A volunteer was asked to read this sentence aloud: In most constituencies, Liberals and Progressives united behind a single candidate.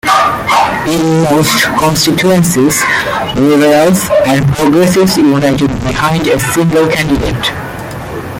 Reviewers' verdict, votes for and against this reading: rejected, 1, 2